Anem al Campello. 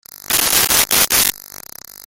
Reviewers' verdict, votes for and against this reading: rejected, 0, 2